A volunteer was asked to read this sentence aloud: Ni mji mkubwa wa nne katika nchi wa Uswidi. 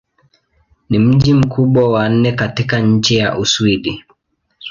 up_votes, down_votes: 2, 0